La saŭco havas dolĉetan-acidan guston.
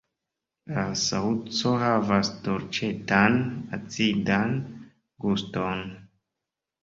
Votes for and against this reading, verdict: 2, 1, accepted